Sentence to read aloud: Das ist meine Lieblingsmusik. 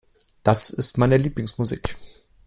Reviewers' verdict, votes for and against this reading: accepted, 2, 0